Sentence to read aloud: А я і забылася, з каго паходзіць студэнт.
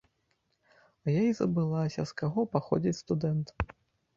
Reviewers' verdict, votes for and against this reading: rejected, 0, 2